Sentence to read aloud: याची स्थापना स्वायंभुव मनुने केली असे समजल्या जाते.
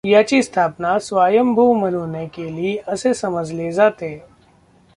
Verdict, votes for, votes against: rejected, 0, 2